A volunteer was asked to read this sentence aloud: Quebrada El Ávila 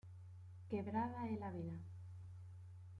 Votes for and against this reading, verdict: 2, 1, accepted